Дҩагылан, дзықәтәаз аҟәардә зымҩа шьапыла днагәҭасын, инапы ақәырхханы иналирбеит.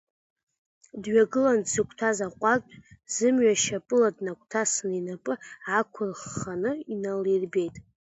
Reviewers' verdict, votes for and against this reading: accepted, 2, 0